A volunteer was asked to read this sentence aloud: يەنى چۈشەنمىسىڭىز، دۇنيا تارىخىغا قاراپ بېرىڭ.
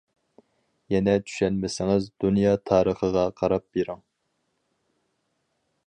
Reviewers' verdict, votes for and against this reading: accepted, 4, 0